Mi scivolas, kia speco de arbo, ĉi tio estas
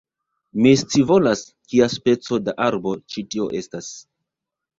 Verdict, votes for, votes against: accepted, 2, 0